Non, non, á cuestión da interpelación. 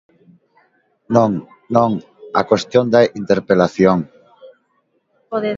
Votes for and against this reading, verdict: 0, 2, rejected